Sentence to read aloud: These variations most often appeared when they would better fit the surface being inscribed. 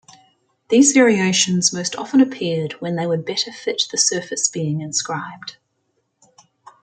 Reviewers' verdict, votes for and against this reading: accepted, 2, 0